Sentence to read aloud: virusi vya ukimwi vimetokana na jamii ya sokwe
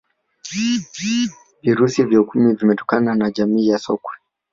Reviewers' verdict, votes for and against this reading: rejected, 0, 2